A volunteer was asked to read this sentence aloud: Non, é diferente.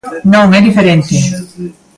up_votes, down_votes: 2, 0